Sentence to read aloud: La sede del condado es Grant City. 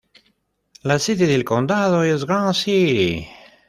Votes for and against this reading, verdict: 0, 2, rejected